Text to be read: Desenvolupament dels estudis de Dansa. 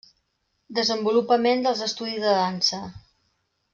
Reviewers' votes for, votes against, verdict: 3, 0, accepted